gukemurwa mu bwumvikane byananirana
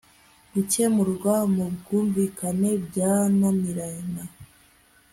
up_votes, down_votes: 2, 0